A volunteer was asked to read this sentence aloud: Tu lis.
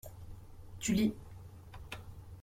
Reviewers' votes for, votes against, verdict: 2, 0, accepted